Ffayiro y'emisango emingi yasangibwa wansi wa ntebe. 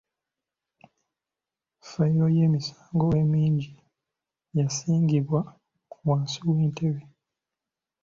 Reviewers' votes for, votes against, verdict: 1, 2, rejected